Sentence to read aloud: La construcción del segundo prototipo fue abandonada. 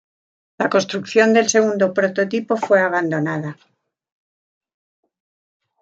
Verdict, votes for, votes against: accepted, 2, 0